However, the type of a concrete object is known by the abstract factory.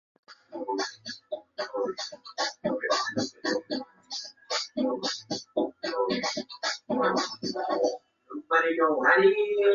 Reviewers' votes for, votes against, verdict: 0, 2, rejected